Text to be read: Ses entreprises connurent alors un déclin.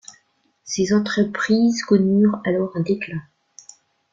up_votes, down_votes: 2, 0